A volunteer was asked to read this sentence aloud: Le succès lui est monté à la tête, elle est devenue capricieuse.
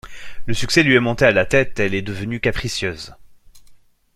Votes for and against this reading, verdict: 2, 0, accepted